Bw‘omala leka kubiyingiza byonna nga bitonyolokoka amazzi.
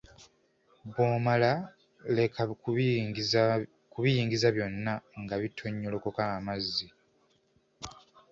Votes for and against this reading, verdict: 2, 0, accepted